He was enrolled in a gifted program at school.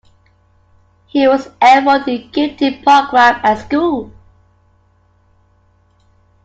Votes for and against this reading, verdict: 2, 1, accepted